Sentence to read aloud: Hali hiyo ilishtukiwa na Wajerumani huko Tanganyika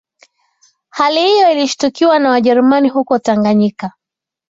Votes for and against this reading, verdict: 2, 0, accepted